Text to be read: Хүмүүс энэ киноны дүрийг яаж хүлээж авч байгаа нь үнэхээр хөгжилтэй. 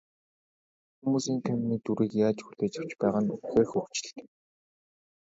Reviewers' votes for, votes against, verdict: 2, 0, accepted